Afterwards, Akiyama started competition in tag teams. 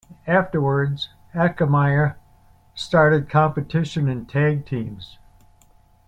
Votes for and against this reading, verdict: 2, 1, accepted